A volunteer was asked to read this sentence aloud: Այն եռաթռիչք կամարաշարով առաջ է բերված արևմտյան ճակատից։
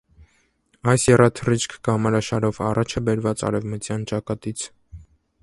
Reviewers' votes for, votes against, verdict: 0, 3, rejected